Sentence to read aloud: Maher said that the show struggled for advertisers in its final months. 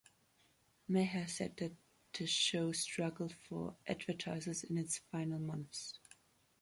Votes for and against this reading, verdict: 1, 2, rejected